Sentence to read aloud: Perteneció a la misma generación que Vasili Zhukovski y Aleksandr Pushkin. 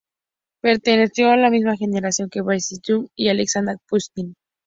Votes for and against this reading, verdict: 0, 2, rejected